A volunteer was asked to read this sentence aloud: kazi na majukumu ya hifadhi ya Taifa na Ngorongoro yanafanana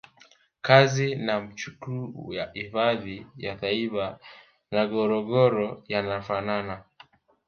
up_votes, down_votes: 1, 3